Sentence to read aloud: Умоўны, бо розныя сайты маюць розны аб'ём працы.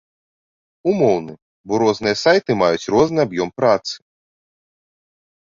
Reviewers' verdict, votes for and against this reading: accepted, 2, 0